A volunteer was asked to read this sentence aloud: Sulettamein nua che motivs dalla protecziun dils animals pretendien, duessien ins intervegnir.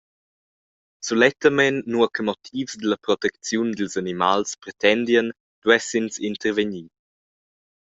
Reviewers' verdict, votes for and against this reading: accepted, 2, 0